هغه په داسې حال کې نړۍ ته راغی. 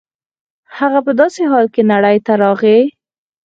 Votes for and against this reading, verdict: 0, 4, rejected